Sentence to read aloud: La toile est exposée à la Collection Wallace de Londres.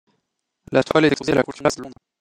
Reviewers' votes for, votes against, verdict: 0, 2, rejected